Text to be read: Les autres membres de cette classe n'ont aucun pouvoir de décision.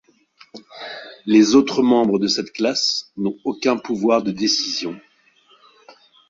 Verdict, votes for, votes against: accepted, 2, 0